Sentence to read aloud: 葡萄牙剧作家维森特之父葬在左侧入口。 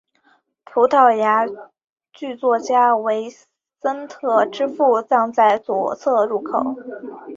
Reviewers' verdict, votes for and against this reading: accepted, 3, 0